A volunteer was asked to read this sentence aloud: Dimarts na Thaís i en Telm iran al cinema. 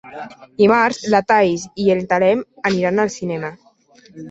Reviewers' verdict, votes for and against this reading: rejected, 0, 2